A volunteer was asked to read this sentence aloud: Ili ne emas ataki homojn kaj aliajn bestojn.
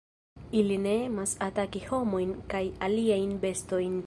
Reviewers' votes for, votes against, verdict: 2, 0, accepted